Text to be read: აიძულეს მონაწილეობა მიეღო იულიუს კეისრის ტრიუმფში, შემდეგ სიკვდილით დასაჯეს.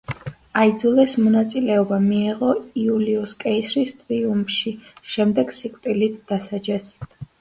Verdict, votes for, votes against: accepted, 2, 1